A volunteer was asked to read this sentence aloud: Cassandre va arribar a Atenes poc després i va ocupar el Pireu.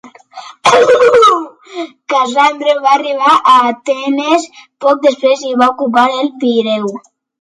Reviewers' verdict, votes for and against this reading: rejected, 0, 2